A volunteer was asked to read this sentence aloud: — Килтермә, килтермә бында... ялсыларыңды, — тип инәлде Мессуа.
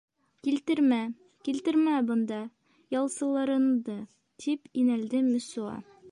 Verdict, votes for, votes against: rejected, 0, 3